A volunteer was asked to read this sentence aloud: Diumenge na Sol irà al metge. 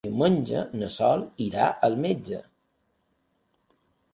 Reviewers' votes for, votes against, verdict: 3, 0, accepted